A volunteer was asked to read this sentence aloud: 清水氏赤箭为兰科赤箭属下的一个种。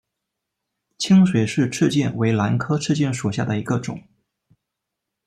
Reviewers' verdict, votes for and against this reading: accepted, 2, 0